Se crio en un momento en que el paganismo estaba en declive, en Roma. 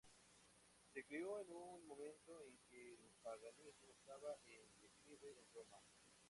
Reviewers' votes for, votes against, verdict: 0, 2, rejected